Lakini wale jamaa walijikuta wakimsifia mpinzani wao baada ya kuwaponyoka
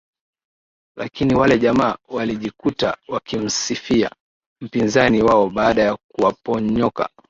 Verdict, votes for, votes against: accepted, 5, 0